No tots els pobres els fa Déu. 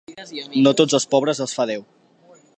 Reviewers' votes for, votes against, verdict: 2, 1, accepted